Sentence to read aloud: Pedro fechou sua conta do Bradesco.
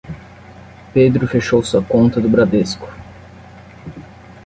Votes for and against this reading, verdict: 10, 0, accepted